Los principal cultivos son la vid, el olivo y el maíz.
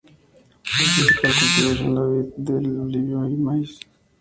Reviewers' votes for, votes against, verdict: 0, 2, rejected